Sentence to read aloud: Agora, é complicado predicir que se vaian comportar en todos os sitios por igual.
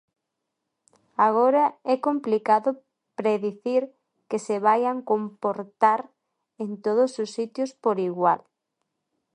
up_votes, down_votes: 2, 1